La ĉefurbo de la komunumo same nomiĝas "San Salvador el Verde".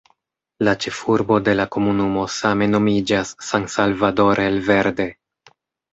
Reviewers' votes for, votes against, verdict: 2, 0, accepted